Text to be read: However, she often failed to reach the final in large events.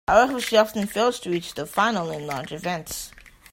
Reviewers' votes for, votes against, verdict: 2, 1, accepted